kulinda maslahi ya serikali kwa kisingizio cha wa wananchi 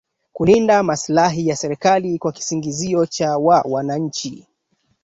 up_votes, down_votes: 2, 1